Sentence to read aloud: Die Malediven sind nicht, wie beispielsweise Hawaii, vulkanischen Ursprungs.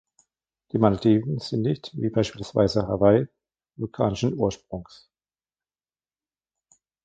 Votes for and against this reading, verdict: 1, 2, rejected